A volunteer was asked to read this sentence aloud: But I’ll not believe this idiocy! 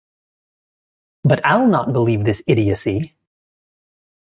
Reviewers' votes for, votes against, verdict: 2, 0, accepted